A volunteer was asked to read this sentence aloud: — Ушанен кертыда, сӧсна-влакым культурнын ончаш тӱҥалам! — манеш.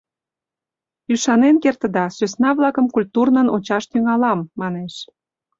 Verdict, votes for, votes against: rejected, 1, 2